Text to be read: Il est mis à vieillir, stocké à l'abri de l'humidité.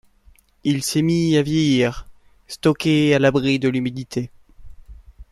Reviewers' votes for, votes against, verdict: 1, 2, rejected